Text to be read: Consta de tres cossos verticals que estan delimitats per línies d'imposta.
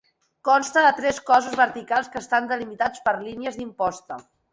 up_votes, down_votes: 2, 0